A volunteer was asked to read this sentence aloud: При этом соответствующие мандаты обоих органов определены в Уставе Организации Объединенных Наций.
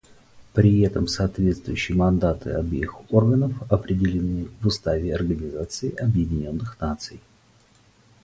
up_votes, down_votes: 2, 2